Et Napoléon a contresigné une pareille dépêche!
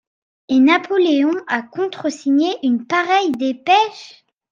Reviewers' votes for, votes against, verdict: 2, 0, accepted